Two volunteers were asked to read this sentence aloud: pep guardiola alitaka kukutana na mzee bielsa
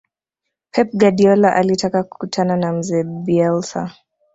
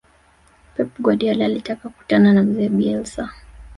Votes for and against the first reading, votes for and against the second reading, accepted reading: 2, 1, 1, 2, first